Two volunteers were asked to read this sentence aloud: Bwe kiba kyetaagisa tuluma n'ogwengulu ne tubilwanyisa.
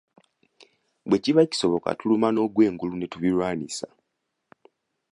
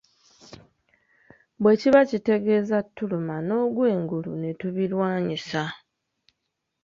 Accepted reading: first